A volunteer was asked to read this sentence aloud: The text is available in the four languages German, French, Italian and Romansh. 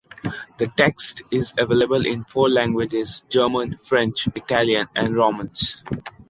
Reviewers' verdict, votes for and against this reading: rejected, 1, 2